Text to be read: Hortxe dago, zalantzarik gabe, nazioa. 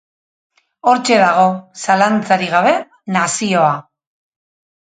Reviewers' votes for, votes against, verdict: 4, 0, accepted